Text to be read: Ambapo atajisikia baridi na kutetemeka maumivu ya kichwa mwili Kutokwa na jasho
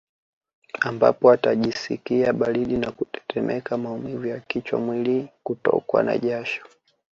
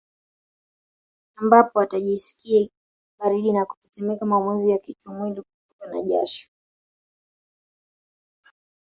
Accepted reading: first